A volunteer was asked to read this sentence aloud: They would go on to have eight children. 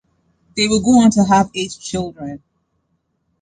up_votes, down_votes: 2, 0